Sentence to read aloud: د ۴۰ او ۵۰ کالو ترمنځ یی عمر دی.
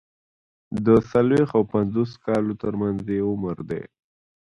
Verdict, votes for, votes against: rejected, 0, 2